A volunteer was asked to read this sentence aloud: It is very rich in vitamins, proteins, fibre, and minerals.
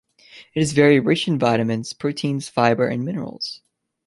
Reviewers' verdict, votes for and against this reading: accepted, 2, 0